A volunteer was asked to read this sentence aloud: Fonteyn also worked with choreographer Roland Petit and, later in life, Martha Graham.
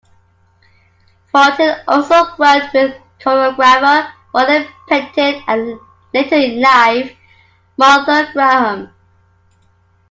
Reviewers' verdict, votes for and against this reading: accepted, 2, 1